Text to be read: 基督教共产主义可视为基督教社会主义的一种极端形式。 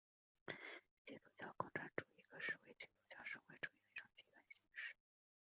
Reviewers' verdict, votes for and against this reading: rejected, 0, 5